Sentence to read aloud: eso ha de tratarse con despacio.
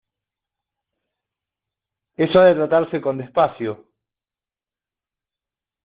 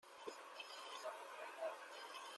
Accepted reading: first